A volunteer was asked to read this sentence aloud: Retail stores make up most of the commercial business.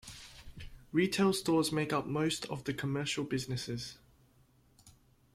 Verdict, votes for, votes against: accepted, 2, 1